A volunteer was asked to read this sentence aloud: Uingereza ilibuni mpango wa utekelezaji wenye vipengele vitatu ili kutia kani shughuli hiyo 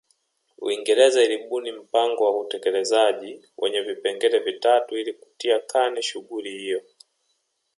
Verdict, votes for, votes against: rejected, 1, 2